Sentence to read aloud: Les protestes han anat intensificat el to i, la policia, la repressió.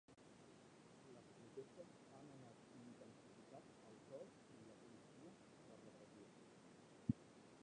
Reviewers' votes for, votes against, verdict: 2, 3, rejected